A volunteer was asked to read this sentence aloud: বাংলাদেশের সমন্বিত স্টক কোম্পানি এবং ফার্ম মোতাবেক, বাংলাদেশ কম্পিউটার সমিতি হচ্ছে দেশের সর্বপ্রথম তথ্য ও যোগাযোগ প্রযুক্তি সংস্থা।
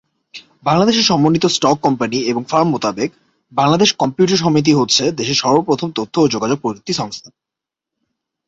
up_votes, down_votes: 15, 0